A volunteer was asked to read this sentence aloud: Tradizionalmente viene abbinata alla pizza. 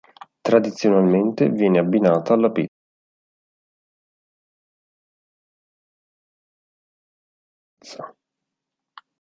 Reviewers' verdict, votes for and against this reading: rejected, 0, 2